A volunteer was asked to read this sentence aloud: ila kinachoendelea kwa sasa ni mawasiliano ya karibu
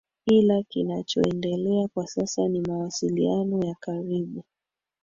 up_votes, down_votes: 3, 2